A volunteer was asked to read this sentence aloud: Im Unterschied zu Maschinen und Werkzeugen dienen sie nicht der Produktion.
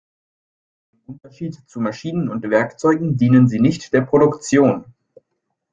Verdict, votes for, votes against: rejected, 1, 2